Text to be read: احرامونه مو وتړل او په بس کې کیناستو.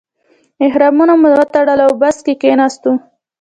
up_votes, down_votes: 2, 0